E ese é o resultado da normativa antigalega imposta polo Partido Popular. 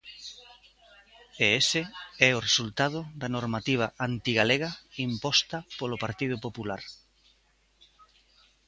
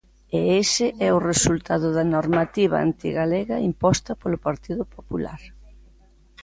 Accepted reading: second